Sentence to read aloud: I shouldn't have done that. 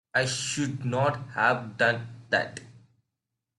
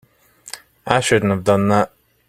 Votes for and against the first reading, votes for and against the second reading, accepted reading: 1, 2, 4, 1, second